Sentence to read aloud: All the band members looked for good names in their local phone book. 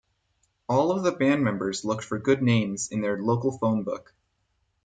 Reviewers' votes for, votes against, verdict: 0, 4, rejected